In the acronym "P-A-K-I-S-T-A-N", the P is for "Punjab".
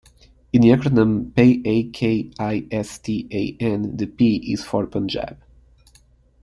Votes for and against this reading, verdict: 2, 0, accepted